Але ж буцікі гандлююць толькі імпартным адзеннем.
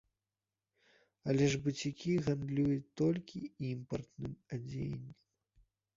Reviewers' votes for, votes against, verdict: 1, 2, rejected